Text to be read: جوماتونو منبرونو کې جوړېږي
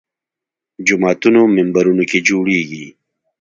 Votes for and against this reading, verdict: 2, 0, accepted